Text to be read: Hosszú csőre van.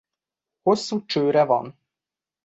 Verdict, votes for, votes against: accepted, 2, 0